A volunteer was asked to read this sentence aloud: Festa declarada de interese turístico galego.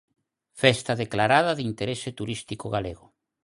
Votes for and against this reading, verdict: 4, 0, accepted